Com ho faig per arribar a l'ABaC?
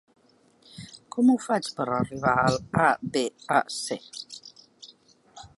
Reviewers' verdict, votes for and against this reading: rejected, 0, 2